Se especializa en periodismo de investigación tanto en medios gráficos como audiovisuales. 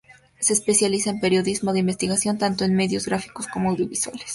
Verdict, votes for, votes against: accepted, 2, 0